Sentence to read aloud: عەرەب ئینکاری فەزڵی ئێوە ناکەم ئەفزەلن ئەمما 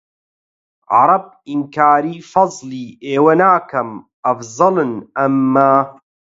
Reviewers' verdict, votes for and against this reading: accepted, 4, 0